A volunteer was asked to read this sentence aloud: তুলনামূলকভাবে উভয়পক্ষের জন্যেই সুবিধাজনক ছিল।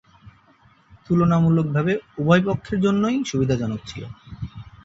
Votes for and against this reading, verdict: 2, 0, accepted